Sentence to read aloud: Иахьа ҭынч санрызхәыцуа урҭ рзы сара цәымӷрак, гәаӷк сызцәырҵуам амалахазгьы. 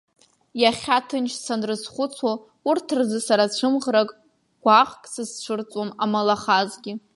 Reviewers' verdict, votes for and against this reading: accepted, 2, 1